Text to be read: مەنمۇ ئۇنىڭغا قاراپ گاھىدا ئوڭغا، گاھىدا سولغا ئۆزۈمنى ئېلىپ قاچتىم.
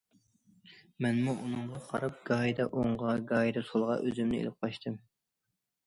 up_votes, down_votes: 2, 0